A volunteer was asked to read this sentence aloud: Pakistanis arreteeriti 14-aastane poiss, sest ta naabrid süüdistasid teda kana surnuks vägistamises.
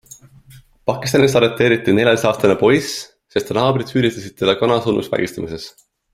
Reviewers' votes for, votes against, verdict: 0, 2, rejected